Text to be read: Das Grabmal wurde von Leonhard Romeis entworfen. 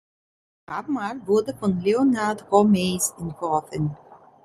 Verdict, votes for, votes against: rejected, 0, 2